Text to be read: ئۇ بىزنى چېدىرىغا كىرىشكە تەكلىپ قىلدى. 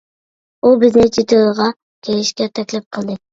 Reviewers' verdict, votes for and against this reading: rejected, 0, 2